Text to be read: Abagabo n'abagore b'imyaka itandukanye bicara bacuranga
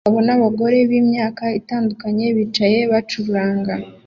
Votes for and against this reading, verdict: 2, 0, accepted